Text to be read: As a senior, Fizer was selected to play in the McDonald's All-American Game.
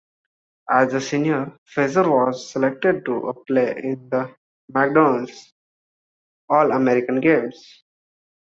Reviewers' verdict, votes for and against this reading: rejected, 0, 2